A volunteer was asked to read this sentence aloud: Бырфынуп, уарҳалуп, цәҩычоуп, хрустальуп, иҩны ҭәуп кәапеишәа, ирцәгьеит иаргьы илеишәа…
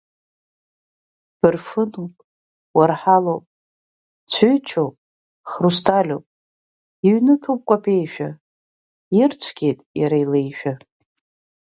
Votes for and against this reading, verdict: 1, 2, rejected